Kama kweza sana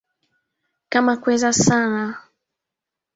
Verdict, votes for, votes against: rejected, 0, 2